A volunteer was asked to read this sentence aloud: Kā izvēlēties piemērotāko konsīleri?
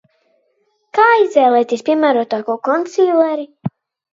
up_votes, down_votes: 2, 0